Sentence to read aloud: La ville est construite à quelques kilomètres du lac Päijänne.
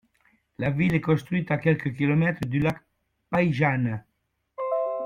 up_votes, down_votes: 2, 1